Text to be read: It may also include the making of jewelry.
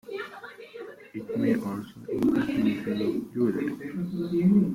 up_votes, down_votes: 0, 2